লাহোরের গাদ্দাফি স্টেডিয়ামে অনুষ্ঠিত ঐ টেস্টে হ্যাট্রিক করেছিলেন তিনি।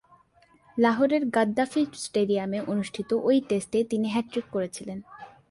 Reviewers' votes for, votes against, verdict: 0, 2, rejected